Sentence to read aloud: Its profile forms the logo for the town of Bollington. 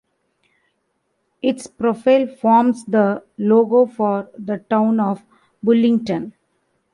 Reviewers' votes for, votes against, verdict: 0, 2, rejected